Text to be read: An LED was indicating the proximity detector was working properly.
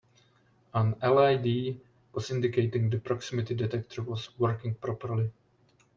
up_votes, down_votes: 2, 0